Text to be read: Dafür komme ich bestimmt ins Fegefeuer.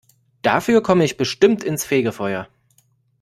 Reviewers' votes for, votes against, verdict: 2, 0, accepted